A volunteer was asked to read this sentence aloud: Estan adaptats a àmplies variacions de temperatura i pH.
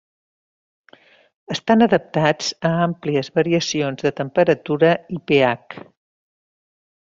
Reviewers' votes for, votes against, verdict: 2, 0, accepted